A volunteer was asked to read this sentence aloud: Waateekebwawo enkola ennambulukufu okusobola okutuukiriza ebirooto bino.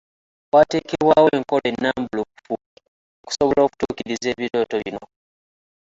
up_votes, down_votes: 2, 0